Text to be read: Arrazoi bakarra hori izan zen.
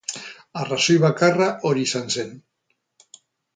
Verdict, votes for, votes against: accepted, 4, 2